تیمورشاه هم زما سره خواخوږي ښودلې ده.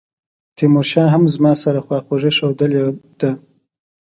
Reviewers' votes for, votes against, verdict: 2, 0, accepted